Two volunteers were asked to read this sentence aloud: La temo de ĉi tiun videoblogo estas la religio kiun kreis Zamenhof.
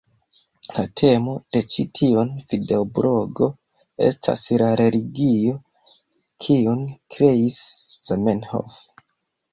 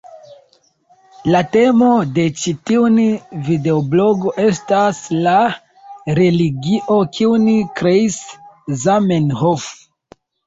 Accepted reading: first